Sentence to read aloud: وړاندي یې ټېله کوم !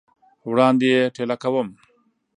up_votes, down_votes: 2, 0